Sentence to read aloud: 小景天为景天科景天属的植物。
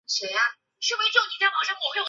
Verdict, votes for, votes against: rejected, 1, 2